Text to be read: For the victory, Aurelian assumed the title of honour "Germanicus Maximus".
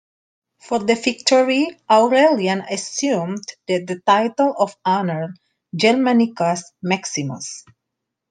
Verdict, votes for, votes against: rejected, 1, 2